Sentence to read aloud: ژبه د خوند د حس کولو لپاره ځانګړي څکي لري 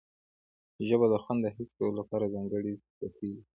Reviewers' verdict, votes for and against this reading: rejected, 1, 2